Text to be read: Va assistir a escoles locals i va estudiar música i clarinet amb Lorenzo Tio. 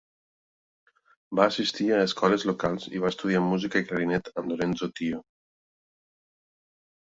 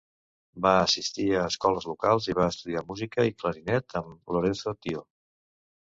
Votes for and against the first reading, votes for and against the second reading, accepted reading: 2, 0, 0, 2, first